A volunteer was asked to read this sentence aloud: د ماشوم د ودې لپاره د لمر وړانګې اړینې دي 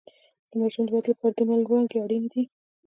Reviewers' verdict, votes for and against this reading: accepted, 2, 0